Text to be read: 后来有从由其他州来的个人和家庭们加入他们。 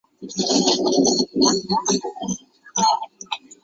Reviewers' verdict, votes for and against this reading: rejected, 0, 5